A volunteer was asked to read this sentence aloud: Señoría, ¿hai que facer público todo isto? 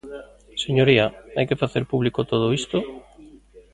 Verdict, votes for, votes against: rejected, 1, 2